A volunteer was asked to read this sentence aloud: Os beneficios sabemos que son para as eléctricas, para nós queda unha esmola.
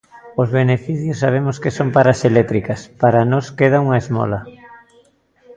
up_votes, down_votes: 1, 2